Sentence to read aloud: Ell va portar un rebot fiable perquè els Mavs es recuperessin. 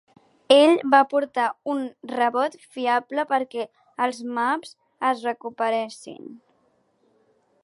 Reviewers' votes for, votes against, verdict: 4, 1, accepted